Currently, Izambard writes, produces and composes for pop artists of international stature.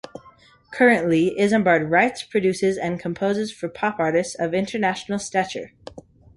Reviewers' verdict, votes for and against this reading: accepted, 2, 0